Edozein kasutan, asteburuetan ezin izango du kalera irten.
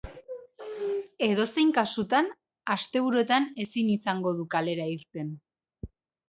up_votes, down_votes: 2, 0